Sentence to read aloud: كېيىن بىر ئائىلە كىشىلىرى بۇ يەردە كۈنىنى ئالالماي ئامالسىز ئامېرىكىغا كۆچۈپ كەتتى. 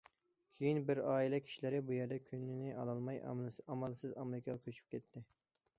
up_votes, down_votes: 0, 2